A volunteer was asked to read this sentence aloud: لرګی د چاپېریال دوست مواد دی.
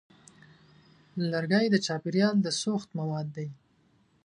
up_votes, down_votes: 0, 2